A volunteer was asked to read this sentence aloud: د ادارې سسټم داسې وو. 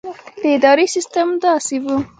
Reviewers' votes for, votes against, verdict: 0, 2, rejected